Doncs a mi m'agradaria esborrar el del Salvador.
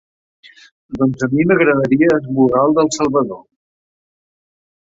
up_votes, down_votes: 2, 0